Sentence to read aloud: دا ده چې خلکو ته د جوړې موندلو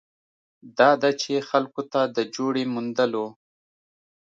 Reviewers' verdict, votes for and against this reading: accepted, 2, 0